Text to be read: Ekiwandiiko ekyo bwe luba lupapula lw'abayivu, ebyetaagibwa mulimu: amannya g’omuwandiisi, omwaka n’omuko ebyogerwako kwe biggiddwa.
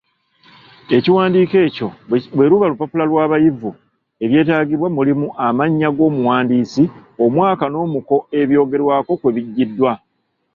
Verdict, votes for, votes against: accepted, 2, 0